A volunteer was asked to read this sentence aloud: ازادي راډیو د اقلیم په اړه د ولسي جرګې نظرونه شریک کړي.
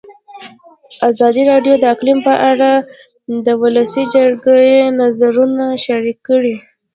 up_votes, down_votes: 2, 0